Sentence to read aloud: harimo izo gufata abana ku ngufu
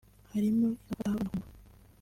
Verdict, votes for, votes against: rejected, 0, 2